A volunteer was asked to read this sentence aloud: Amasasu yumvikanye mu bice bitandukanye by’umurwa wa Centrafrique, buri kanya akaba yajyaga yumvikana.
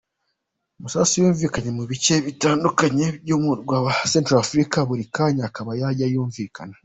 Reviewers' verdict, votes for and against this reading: accepted, 2, 1